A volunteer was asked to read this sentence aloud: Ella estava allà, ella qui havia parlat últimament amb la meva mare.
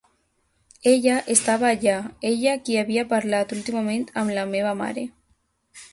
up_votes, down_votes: 2, 0